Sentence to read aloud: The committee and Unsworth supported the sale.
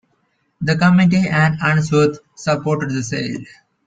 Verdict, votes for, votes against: accepted, 2, 0